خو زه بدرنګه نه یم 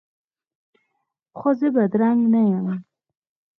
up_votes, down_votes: 2, 4